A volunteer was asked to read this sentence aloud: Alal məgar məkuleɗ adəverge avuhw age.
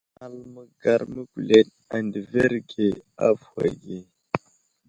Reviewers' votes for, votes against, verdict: 2, 1, accepted